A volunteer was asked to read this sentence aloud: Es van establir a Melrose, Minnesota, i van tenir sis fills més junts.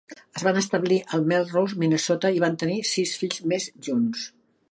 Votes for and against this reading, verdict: 1, 2, rejected